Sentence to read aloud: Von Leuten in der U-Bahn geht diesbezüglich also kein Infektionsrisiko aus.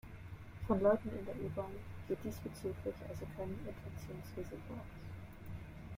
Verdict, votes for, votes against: rejected, 1, 2